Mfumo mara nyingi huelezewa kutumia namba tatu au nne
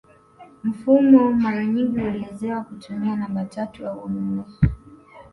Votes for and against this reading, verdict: 2, 0, accepted